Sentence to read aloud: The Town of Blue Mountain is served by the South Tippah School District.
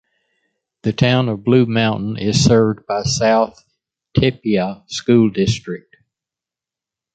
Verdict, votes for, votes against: accepted, 2, 1